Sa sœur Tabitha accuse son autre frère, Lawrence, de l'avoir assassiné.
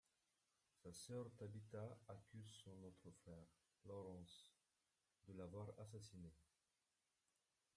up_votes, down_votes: 1, 2